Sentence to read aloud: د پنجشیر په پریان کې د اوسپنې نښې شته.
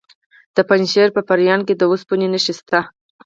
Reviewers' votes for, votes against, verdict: 0, 4, rejected